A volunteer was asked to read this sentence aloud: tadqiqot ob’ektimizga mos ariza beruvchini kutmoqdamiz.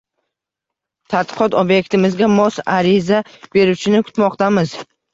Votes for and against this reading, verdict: 1, 2, rejected